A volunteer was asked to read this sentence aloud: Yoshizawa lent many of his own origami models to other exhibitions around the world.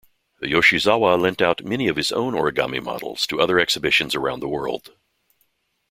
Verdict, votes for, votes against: rejected, 0, 2